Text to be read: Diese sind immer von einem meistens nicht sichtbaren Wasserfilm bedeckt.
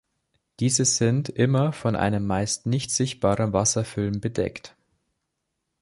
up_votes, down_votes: 1, 2